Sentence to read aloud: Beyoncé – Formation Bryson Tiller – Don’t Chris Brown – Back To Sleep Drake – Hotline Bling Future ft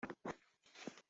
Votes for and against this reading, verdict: 0, 2, rejected